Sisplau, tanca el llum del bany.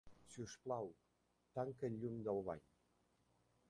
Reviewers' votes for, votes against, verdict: 0, 2, rejected